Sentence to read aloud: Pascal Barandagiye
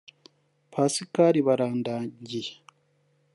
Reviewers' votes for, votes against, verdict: 0, 2, rejected